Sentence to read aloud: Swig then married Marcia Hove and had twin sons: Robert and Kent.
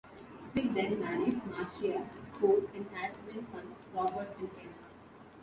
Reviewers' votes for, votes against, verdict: 0, 2, rejected